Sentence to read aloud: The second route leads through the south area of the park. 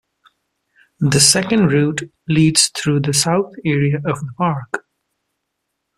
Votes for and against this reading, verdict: 0, 2, rejected